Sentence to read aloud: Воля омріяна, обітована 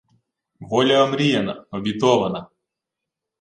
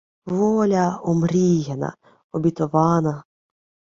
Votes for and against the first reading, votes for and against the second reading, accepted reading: 1, 2, 2, 0, second